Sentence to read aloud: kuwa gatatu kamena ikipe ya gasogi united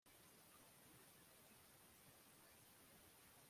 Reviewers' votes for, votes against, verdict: 0, 2, rejected